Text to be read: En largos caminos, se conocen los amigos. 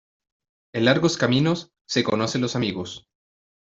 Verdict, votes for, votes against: accepted, 2, 0